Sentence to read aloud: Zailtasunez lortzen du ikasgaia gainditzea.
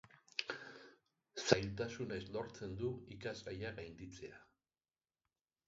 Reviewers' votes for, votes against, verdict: 3, 1, accepted